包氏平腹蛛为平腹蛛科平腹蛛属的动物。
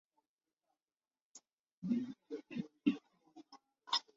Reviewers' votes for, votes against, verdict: 0, 3, rejected